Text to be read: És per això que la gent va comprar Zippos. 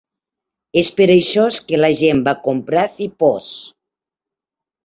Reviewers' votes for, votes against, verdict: 1, 2, rejected